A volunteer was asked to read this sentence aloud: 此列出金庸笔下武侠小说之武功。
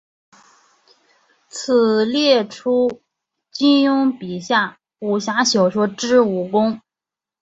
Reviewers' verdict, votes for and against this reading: accepted, 6, 1